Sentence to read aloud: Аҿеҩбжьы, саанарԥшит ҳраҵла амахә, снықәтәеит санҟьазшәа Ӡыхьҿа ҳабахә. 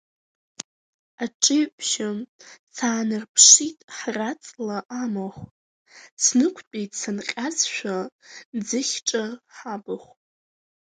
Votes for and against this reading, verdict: 2, 1, accepted